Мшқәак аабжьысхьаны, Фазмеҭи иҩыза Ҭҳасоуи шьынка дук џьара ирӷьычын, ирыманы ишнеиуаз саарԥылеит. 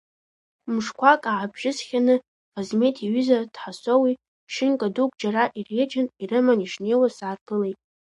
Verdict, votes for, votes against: rejected, 1, 2